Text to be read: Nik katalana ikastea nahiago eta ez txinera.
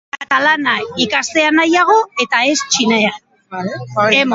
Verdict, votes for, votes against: rejected, 0, 2